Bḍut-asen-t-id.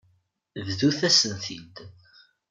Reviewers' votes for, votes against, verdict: 1, 2, rejected